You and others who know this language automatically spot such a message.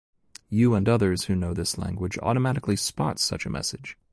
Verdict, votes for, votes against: accepted, 2, 0